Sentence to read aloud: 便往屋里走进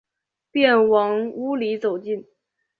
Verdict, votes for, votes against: accepted, 2, 0